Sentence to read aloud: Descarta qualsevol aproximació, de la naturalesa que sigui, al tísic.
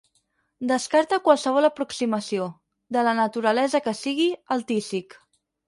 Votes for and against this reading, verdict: 6, 0, accepted